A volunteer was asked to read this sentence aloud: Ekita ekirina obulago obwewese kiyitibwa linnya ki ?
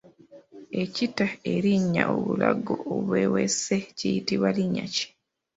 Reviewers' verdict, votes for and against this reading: rejected, 0, 2